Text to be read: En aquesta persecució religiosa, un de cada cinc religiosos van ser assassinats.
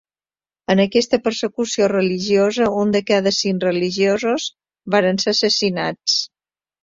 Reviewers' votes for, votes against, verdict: 0, 2, rejected